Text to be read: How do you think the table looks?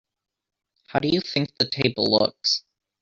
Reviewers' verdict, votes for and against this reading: rejected, 0, 2